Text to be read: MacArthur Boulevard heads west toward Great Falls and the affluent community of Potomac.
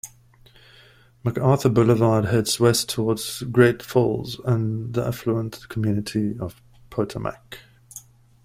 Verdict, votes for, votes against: rejected, 1, 2